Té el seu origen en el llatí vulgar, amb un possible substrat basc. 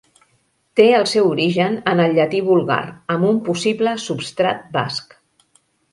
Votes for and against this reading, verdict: 2, 0, accepted